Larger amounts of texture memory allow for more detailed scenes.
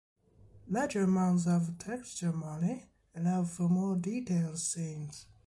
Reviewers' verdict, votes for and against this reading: accepted, 2, 0